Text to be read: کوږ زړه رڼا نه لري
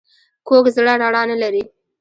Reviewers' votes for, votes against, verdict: 0, 2, rejected